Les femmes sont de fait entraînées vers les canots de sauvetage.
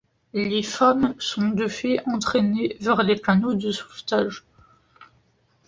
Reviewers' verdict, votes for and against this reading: accepted, 2, 0